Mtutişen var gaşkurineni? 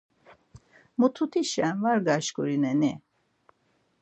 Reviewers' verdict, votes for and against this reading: rejected, 0, 4